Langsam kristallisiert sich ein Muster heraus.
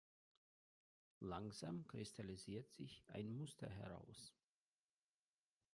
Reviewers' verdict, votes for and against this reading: rejected, 1, 2